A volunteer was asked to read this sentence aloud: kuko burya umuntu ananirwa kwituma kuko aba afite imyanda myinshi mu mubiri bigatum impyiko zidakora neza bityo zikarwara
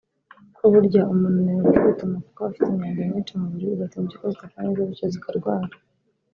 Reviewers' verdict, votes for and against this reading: rejected, 0, 2